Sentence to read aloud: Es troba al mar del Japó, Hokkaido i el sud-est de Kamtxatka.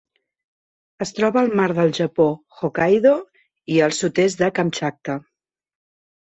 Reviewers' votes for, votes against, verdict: 2, 0, accepted